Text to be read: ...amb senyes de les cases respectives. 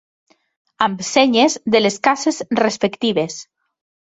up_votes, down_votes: 3, 0